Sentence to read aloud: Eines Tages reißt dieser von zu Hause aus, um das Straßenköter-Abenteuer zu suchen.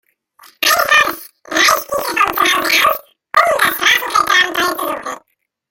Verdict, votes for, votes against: rejected, 0, 2